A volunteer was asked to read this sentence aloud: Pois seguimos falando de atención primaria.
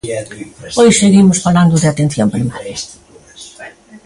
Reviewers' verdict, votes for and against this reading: accepted, 2, 1